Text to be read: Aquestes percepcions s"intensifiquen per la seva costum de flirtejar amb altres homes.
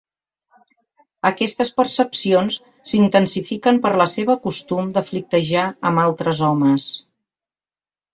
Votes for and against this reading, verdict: 2, 0, accepted